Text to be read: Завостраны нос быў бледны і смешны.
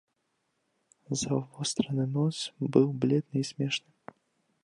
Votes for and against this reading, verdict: 1, 2, rejected